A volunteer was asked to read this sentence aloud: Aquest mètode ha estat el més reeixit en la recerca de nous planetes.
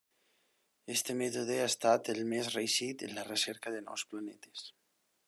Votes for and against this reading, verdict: 0, 2, rejected